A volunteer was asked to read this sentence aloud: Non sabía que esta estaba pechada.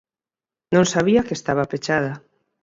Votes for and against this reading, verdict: 2, 4, rejected